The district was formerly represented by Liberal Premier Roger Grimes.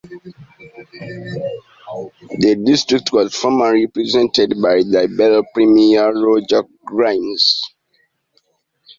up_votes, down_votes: 2, 0